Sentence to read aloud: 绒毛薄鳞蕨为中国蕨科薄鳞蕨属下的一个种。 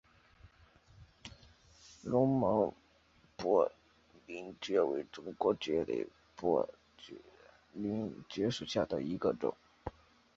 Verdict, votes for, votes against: rejected, 0, 2